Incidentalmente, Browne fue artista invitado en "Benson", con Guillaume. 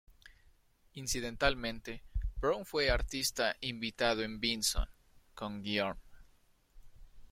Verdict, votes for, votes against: rejected, 0, 2